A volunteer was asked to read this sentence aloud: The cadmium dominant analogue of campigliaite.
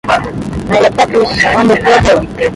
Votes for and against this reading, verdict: 0, 2, rejected